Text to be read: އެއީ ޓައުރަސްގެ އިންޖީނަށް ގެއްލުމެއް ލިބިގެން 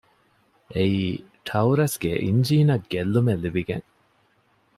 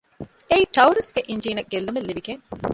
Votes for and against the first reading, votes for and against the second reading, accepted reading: 2, 0, 1, 2, first